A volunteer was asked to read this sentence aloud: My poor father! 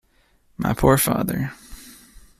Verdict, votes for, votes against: accepted, 2, 0